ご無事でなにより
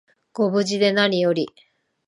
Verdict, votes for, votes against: accepted, 3, 0